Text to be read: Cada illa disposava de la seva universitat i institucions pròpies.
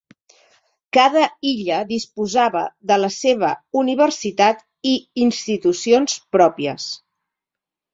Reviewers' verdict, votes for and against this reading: accepted, 3, 0